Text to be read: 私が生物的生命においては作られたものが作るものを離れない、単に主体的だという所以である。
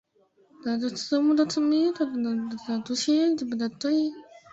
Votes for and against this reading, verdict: 0, 2, rejected